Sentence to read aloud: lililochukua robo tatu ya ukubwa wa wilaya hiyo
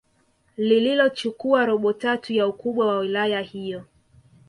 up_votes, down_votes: 1, 2